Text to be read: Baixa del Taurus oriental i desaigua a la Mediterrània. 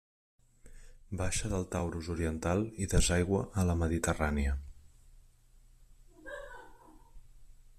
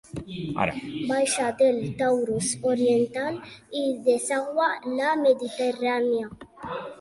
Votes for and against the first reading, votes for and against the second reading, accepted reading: 3, 1, 2, 3, first